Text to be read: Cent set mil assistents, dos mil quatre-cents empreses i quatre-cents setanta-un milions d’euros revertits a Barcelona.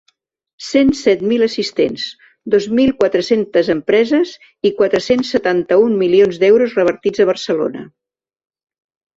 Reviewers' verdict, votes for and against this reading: rejected, 0, 2